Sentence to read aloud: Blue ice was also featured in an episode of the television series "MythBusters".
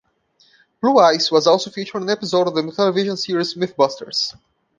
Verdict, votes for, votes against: rejected, 1, 2